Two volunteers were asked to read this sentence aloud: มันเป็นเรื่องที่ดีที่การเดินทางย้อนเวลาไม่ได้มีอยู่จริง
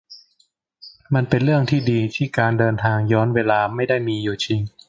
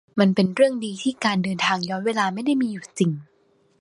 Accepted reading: first